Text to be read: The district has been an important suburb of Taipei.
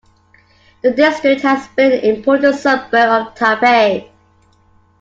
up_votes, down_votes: 2, 1